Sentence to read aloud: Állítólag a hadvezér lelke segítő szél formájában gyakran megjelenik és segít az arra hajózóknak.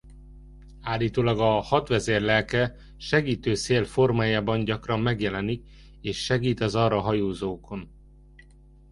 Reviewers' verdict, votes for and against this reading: rejected, 0, 2